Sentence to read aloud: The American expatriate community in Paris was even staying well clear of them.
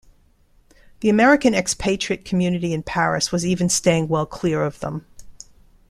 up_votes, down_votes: 2, 0